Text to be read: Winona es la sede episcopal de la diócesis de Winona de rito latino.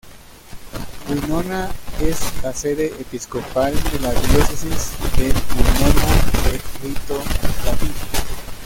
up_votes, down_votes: 1, 2